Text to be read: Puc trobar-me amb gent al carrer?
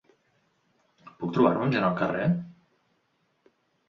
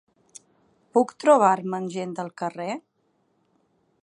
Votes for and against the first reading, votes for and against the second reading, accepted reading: 2, 0, 0, 8, first